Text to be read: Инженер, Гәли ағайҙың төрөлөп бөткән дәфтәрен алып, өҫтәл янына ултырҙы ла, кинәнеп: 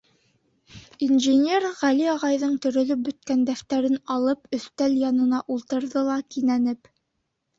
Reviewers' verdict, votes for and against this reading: accepted, 5, 0